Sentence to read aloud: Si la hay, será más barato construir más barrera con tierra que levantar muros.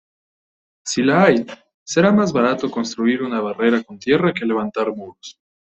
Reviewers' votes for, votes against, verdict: 1, 2, rejected